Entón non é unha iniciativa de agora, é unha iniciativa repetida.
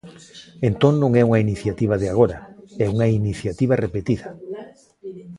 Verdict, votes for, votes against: rejected, 1, 2